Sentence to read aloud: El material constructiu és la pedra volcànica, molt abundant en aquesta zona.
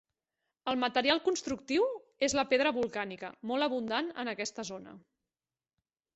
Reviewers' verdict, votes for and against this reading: accepted, 5, 0